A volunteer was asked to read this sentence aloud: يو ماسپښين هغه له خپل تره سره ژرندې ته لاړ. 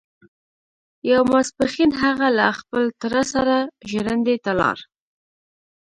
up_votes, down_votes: 2, 0